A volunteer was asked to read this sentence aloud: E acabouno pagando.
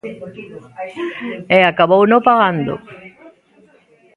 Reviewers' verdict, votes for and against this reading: rejected, 1, 2